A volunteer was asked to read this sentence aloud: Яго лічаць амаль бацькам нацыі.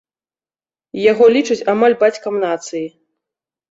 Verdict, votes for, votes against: accepted, 2, 0